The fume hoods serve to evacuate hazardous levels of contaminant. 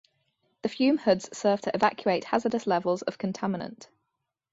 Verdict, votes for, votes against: rejected, 0, 2